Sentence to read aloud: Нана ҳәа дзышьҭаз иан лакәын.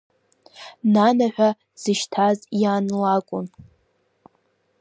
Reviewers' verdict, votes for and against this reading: rejected, 0, 2